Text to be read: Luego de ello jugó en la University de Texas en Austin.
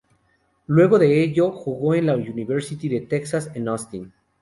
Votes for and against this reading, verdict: 2, 0, accepted